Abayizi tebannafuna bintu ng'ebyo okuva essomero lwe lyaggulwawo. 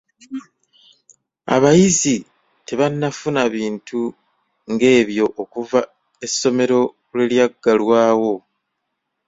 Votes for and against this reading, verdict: 0, 2, rejected